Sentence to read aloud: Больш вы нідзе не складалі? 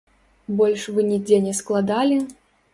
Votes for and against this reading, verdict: 2, 0, accepted